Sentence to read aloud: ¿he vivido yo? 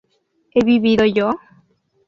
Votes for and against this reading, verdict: 2, 0, accepted